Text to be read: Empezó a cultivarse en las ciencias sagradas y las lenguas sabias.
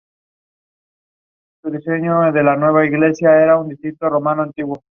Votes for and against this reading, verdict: 0, 2, rejected